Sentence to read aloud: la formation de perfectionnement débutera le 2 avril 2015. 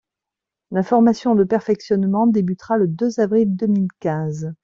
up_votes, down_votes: 0, 2